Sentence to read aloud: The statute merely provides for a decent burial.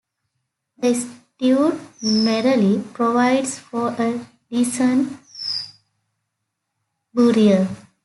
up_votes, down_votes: 2, 0